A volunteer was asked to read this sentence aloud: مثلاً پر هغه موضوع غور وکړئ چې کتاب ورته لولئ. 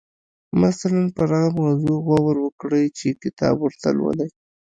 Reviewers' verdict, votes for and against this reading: rejected, 1, 2